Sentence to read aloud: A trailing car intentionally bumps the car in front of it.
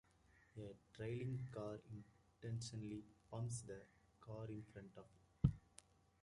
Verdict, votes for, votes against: rejected, 0, 2